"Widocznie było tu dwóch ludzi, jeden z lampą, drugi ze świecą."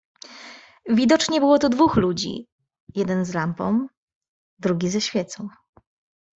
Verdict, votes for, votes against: accepted, 2, 0